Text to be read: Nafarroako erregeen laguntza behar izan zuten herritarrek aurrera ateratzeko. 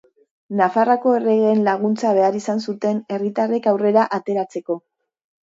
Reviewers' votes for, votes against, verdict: 2, 1, accepted